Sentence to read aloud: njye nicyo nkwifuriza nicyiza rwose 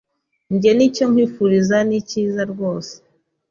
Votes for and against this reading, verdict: 3, 0, accepted